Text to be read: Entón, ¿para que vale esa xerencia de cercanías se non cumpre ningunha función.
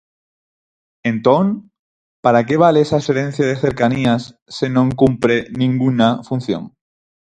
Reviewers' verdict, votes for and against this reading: accepted, 4, 0